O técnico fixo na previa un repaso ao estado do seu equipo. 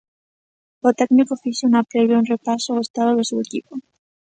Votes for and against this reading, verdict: 3, 0, accepted